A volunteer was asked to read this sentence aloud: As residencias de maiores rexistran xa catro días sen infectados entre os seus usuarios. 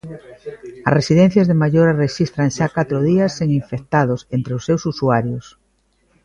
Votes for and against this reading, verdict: 1, 2, rejected